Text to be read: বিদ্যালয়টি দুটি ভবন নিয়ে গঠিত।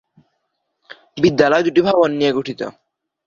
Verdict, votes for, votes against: rejected, 0, 2